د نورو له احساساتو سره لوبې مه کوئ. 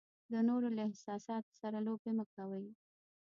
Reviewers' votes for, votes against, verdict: 2, 1, accepted